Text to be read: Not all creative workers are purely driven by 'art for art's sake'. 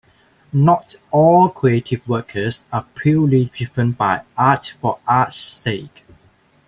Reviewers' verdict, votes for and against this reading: accepted, 2, 0